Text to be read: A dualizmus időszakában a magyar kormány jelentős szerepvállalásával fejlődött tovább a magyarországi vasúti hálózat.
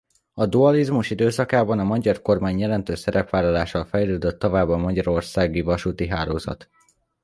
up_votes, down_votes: 2, 0